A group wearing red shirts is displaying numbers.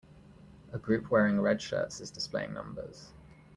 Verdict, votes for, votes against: accepted, 2, 0